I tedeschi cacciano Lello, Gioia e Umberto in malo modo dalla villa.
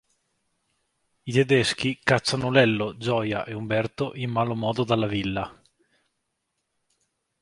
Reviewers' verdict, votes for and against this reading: accepted, 2, 0